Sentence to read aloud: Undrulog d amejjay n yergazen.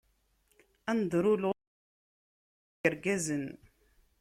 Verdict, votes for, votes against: rejected, 0, 2